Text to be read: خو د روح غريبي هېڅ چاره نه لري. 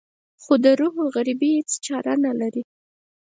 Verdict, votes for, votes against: accepted, 4, 0